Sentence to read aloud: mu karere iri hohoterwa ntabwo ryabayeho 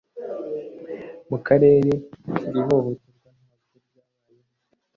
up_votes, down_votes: 0, 2